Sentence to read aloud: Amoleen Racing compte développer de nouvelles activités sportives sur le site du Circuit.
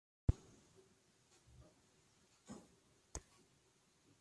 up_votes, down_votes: 0, 2